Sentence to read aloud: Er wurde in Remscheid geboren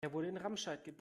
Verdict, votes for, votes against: rejected, 1, 2